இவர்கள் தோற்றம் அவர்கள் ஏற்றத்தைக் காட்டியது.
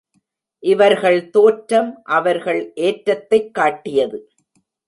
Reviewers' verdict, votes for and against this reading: accepted, 2, 0